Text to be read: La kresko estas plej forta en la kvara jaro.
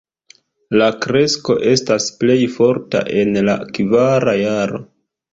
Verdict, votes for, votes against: rejected, 0, 2